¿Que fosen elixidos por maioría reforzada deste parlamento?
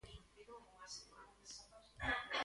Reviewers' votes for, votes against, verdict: 0, 2, rejected